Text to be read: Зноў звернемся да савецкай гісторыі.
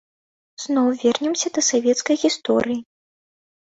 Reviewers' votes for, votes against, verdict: 1, 2, rejected